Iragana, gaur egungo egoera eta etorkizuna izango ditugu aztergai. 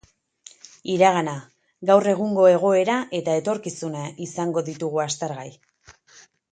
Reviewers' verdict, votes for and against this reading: accepted, 4, 0